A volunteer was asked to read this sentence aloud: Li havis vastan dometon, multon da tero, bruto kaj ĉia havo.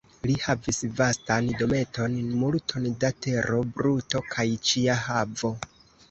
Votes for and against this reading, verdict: 1, 2, rejected